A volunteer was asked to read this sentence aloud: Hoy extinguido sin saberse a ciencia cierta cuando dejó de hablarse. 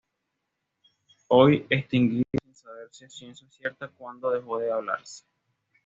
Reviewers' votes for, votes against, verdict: 1, 2, rejected